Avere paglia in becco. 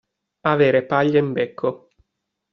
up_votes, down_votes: 2, 0